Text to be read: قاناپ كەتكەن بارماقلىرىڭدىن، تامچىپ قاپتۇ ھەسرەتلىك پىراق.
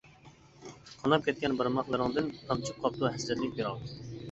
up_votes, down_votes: 2, 1